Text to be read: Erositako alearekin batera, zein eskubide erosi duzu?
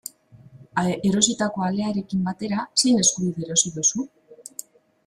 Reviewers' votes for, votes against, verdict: 0, 2, rejected